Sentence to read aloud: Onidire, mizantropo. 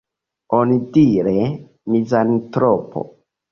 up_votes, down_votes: 2, 1